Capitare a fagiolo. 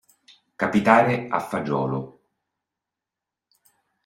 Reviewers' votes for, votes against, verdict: 2, 0, accepted